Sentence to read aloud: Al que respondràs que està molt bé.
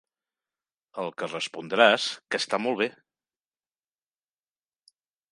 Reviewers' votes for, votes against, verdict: 8, 1, accepted